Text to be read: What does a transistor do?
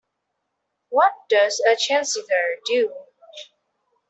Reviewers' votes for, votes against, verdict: 0, 2, rejected